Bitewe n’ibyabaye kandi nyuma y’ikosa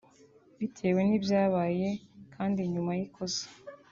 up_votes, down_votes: 2, 0